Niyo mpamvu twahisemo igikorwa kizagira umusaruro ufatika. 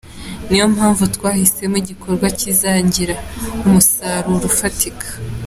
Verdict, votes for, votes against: accepted, 2, 0